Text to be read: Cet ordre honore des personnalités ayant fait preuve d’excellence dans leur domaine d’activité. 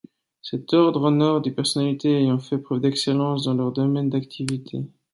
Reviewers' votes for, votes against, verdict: 2, 0, accepted